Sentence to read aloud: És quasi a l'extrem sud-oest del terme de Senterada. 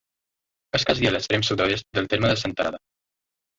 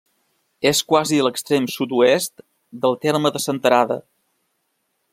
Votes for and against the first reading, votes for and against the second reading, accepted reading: 0, 2, 3, 0, second